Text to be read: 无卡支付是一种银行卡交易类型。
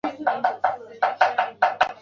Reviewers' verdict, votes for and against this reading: rejected, 1, 2